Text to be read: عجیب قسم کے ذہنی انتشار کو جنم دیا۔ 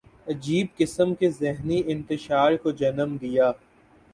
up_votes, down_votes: 8, 0